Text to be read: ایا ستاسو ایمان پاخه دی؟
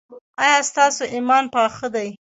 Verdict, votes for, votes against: accepted, 2, 1